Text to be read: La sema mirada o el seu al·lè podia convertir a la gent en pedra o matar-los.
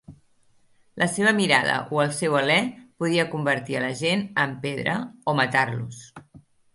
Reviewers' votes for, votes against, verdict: 1, 2, rejected